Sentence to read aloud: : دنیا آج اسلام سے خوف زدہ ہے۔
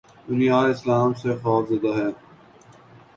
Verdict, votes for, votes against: accepted, 2, 0